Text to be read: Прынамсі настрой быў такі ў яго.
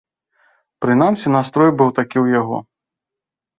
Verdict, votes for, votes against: accepted, 2, 0